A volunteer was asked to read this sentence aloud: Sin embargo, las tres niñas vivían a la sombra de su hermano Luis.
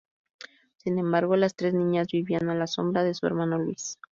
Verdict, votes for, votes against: accepted, 2, 0